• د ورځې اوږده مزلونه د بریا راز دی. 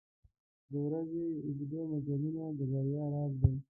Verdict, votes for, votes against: rejected, 0, 2